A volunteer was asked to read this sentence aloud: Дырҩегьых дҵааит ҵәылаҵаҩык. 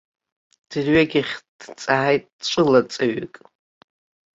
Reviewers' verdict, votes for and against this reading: accepted, 2, 0